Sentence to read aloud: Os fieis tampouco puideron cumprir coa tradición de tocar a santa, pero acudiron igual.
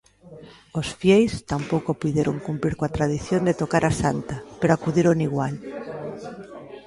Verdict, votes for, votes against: rejected, 0, 2